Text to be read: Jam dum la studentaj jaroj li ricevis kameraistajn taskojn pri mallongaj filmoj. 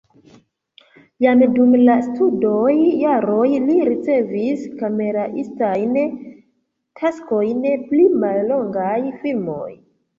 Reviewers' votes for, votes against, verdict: 0, 2, rejected